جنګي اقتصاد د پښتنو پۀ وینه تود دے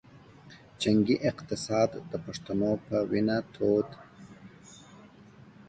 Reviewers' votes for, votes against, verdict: 2, 0, accepted